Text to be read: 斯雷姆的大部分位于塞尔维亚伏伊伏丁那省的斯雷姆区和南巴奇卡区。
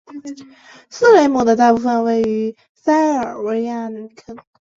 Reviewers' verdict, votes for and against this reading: rejected, 0, 4